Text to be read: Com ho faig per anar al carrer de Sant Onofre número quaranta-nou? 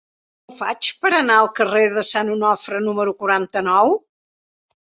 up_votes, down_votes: 0, 2